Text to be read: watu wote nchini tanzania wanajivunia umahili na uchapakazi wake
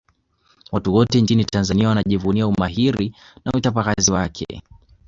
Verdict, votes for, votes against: accepted, 2, 1